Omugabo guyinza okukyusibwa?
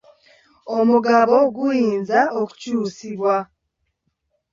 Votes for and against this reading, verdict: 2, 1, accepted